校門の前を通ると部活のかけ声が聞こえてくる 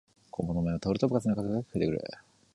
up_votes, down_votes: 0, 2